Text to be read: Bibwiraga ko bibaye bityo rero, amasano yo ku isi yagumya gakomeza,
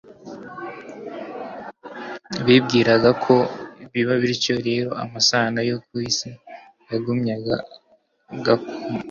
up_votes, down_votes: 0, 2